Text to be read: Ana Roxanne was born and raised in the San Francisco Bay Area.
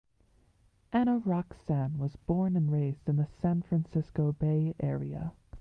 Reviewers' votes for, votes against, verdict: 2, 0, accepted